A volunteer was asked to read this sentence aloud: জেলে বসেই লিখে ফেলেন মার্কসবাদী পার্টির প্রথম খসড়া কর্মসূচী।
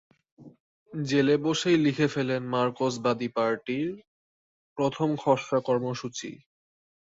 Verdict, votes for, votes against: rejected, 2, 3